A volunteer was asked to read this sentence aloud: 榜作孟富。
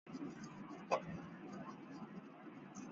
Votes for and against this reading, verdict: 0, 3, rejected